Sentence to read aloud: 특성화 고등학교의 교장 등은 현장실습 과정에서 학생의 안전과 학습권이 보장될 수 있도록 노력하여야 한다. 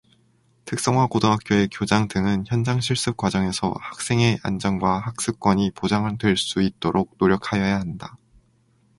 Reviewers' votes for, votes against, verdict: 2, 0, accepted